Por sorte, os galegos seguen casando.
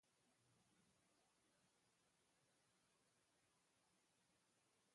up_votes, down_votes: 0, 8